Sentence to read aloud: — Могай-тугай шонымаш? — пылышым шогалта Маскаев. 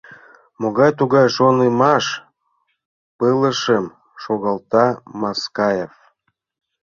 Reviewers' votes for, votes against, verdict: 2, 0, accepted